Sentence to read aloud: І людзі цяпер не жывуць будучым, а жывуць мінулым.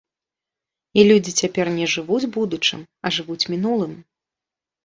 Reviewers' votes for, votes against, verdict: 2, 0, accepted